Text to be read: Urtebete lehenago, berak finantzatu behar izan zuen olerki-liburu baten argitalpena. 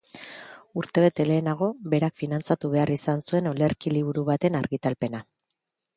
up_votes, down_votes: 2, 0